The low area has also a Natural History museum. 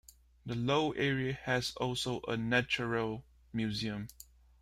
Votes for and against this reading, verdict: 0, 2, rejected